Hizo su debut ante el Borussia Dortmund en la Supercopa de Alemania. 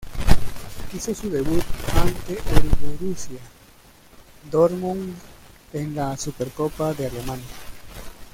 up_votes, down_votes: 0, 2